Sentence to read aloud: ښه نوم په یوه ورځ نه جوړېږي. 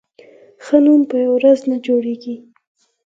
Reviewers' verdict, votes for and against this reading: accepted, 4, 0